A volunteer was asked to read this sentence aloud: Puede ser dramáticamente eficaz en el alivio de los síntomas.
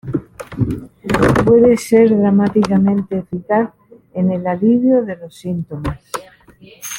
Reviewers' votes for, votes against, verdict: 2, 1, accepted